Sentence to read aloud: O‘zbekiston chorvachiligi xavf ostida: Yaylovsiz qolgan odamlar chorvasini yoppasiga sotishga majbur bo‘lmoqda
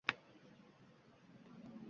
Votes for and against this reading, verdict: 0, 2, rejected